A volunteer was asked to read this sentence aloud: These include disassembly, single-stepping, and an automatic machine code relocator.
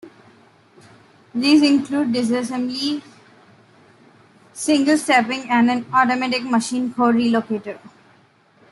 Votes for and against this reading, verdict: 2, 0, accepted